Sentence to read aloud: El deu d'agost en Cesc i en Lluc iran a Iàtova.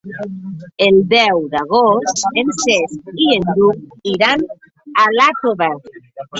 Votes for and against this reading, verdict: 0, 2, rejected